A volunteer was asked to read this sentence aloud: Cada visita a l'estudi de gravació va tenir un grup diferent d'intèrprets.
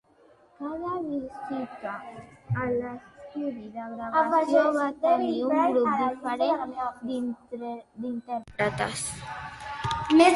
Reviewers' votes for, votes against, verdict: 0, 3, rejected